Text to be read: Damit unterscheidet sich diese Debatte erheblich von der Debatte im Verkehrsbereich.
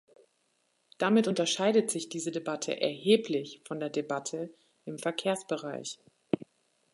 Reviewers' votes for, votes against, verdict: 2, 0, accepted